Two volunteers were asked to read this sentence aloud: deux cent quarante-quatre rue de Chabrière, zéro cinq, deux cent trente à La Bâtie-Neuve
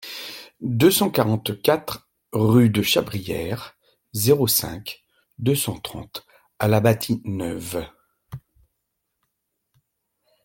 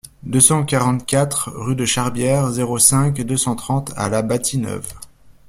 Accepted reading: first